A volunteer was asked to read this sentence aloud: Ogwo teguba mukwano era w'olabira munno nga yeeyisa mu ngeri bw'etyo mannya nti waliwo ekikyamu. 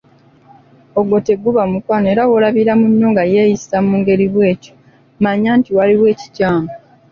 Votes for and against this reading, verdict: 2, 0, accepted